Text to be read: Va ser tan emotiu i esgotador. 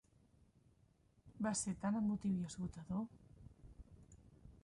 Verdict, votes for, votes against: accepted, 3, 1